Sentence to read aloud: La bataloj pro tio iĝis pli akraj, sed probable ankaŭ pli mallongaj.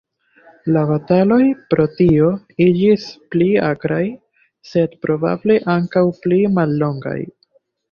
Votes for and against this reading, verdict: 2, 1, accepted